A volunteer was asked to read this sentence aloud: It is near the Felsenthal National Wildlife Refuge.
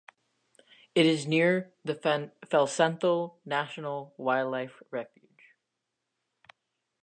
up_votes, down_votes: 0, 2